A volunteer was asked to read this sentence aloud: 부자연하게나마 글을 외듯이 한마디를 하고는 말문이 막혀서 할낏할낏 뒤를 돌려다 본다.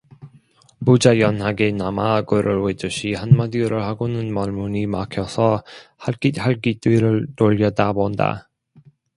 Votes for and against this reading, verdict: 1, 2, rejected